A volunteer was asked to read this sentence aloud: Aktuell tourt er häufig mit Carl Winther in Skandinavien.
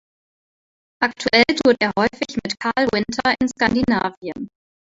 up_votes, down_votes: 2, 0